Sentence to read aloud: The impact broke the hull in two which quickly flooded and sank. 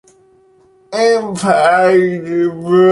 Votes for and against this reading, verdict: 0, 2, rejected